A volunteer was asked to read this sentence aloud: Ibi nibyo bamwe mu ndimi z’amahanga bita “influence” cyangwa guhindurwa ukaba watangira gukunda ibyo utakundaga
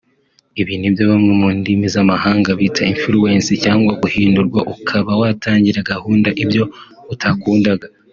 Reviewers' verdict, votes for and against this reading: rejected, 1, 2